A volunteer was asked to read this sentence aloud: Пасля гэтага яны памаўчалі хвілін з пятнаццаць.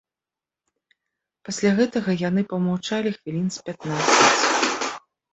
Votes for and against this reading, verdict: 2, 1, accepted